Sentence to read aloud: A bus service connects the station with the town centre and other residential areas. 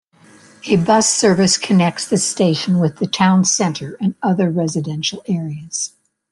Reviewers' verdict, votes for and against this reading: accepted, 3, 0